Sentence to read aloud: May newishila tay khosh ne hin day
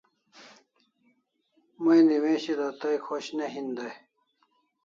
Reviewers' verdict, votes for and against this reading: accepted, 2, 0